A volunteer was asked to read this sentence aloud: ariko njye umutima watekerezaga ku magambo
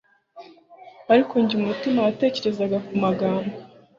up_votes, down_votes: 2, 0